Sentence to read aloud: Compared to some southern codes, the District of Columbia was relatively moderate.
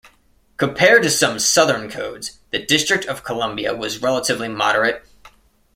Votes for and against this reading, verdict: 2, 0, accepted